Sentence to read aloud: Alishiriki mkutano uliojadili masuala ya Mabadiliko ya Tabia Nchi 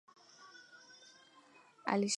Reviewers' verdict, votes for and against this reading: rejected, 0, 2